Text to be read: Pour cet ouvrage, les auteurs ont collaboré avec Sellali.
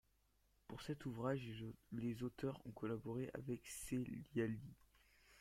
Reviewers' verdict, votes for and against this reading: accepted, 2, 0